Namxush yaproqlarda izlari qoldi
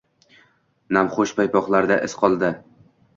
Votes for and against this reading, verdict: 1, 2, rejected